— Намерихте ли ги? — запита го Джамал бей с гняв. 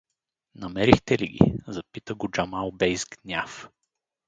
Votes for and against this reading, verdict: 4, 0, accepted